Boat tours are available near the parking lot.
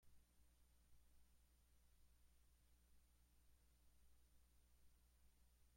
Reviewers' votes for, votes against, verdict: 0, 2, rejected